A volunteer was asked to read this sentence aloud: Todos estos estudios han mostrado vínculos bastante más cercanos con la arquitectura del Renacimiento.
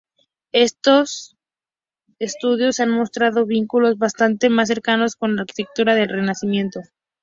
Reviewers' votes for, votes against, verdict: 0, 2, rejected